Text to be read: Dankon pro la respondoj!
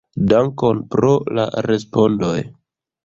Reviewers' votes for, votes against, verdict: 2, 0, accepted